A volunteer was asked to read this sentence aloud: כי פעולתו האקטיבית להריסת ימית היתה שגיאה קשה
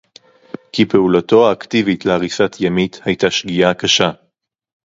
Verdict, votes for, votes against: accepted, 2, 0